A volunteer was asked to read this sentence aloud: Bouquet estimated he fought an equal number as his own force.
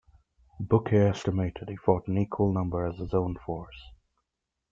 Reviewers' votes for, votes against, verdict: 2, 0, accepted